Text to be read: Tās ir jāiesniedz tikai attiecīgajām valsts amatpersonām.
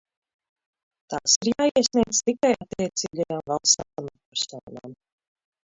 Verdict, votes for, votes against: rejected, 0, 2